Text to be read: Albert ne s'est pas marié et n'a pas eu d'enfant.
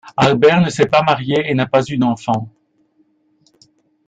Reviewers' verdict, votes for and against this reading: accepted, 2, 0